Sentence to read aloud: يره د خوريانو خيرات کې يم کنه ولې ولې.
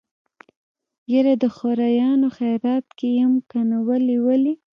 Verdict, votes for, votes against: accepted, 2, 0